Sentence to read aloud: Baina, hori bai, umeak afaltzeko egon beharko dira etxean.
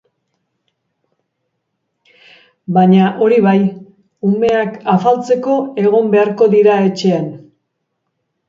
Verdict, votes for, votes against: accepted, 6, 0